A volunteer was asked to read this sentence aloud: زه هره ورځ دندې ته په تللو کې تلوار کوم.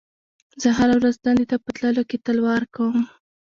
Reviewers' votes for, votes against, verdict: 2, 1, accepted